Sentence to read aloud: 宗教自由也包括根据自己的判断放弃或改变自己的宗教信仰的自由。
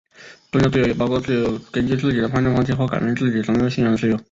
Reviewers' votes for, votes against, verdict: 3, 2, accepted